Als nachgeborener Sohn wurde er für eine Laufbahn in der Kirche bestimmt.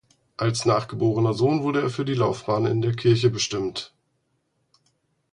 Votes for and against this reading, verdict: 0, 4, rejected